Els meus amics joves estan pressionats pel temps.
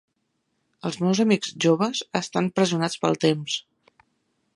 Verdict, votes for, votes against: accepted, 3, 1